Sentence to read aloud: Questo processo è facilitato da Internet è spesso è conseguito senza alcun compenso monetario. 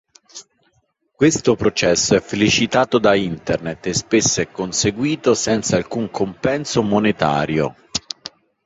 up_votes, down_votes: 1, 2